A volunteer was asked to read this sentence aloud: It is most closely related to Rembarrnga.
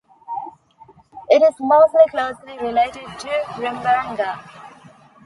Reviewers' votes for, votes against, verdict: 0, 2, rejected